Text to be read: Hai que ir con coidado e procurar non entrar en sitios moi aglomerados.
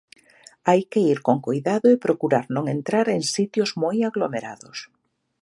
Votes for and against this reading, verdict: 2, 0, accepted